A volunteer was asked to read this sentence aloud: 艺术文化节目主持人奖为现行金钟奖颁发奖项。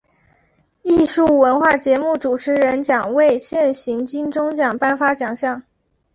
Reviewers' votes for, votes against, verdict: 2, 1, accepted